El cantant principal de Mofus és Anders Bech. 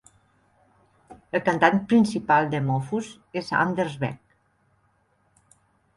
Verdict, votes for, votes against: rejected, 0, 2